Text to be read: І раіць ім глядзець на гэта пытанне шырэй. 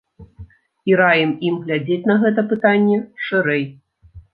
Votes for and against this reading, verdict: 1, 2, rejected